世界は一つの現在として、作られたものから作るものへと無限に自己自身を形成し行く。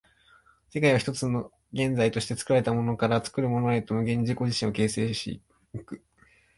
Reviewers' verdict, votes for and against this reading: rejected, 0, 2